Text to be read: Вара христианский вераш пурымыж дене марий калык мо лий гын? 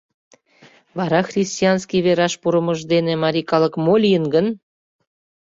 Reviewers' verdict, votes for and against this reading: rejected, 0, 2